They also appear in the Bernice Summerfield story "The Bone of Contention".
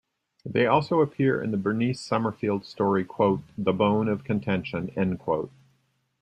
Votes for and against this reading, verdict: 0, 2, rejected